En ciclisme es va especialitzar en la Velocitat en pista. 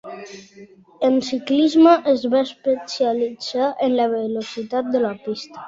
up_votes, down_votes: 0, 2